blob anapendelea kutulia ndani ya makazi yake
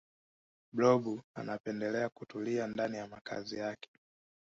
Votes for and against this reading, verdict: 2, 1, accepted